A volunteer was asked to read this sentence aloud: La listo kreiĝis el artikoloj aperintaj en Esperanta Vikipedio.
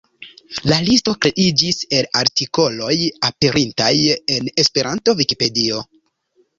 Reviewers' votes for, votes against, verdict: 3, 0, accepted